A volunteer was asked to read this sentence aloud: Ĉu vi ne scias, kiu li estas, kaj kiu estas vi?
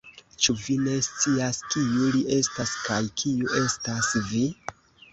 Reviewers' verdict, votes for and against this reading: accepted, 2, 0